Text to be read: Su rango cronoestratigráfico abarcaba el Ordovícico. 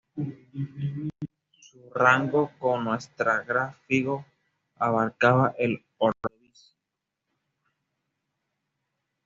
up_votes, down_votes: 1, 2